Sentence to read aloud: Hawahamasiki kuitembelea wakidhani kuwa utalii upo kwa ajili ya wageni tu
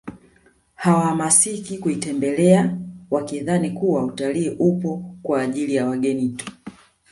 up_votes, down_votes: 2, 1